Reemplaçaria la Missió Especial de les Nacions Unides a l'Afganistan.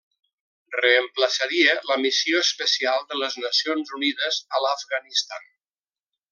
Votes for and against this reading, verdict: 3, 0, accepted